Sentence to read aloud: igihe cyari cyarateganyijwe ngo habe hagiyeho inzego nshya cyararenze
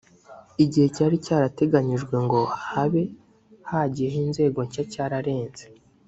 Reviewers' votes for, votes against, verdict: 2, 0, accepted